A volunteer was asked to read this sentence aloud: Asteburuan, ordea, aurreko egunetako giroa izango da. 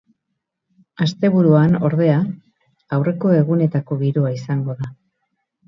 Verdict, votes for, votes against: rejected, 0, 2